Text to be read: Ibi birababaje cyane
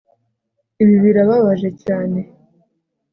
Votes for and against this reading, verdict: 2, 0, accepted